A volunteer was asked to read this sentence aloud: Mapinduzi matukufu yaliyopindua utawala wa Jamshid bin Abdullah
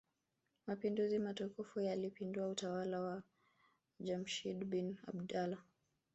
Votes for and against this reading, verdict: 1, 2, rejected